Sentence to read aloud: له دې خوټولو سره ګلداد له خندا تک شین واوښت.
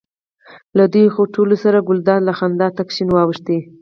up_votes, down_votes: 4, 0